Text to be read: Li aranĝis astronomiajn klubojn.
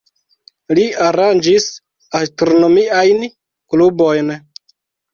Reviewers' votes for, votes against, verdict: 2, 0, accepted